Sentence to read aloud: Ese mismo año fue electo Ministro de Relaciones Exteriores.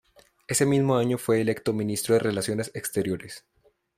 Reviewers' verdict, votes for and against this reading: accepted, 2, 0